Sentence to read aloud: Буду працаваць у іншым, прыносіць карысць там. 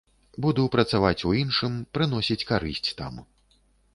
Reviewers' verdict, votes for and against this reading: accepted, 3, 0